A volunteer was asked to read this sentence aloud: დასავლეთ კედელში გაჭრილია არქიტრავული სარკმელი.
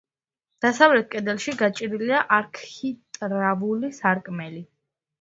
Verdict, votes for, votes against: accepted, 2, 0